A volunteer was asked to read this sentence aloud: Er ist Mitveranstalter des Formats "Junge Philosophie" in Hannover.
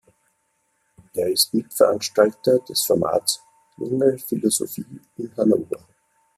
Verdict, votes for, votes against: rejected, 1, 2